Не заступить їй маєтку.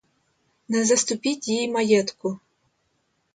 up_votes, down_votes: 0, 2